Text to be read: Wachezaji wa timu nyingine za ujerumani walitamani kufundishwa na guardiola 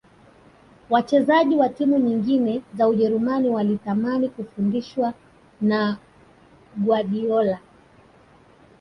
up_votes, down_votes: 0, 2